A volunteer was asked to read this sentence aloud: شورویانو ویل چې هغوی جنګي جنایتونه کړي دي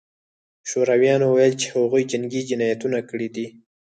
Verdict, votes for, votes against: rejected, 2, 4